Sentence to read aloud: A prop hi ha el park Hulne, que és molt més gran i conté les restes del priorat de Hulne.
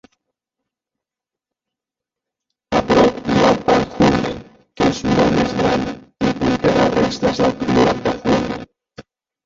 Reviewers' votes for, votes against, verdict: 0, 2, rejected